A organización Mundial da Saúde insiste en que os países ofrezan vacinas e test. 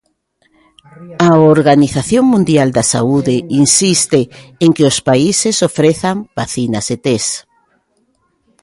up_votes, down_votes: 1, 2